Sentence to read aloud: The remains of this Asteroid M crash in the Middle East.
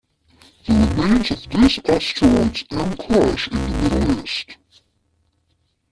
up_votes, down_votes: 0, 2